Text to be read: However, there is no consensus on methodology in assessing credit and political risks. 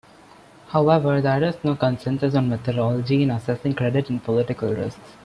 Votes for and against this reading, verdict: 2, 0, accepted